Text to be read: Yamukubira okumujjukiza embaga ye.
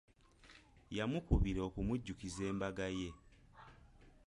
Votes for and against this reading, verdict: 2, 1, accepted